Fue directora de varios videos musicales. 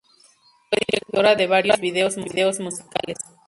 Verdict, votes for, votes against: rejected, 0, 2